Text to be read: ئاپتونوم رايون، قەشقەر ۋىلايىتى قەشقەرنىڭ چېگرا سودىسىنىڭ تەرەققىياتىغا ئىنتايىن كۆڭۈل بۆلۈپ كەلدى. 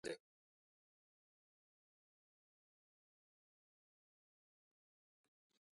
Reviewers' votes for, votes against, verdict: 0, 2, rejected